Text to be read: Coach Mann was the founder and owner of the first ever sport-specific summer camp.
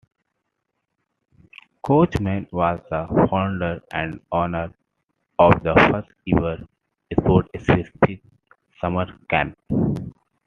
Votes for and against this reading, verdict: 2, 1, accepted